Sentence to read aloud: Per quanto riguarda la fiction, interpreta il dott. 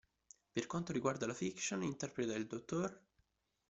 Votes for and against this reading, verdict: 1, 2, rejected